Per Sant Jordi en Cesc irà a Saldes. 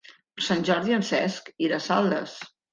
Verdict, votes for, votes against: accepted, 2, 0